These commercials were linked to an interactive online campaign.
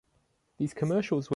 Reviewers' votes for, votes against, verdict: 0, 2, rejected